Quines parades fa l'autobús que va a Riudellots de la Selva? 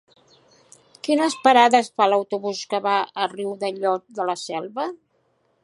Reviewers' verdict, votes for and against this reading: accepted, 2, 0